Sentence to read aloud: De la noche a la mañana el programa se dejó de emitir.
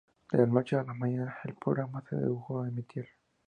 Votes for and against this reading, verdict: 2, 0, accepted